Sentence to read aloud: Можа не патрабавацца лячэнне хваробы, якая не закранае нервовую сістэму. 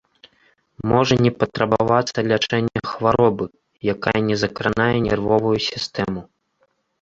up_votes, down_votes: 1, 2